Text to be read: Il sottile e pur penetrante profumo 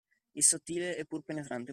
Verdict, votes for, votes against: rejected, 0, 2